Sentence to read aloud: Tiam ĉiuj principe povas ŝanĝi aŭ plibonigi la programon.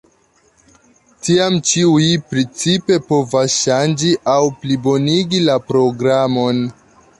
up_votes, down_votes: 2, 0